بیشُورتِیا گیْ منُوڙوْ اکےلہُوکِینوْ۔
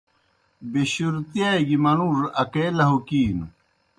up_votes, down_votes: 2, 0